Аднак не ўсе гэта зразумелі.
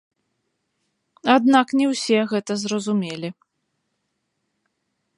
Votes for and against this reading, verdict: 0, 2, rejected